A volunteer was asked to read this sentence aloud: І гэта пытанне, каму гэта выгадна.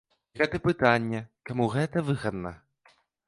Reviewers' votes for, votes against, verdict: 1, 2, rejected